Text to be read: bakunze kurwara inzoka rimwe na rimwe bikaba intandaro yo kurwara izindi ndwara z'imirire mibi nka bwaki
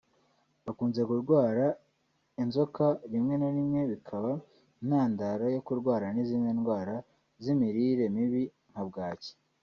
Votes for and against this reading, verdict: 1, 2, rejected